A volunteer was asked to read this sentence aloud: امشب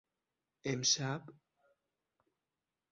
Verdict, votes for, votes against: accepted, 6, 0